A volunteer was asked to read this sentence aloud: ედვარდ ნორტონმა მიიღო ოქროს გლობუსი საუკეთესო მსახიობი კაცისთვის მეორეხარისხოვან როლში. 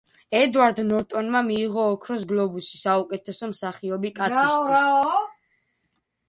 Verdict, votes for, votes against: rejected, 0, 2